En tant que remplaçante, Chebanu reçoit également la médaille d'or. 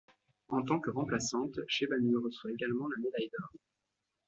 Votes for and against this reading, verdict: 2, 0, accepted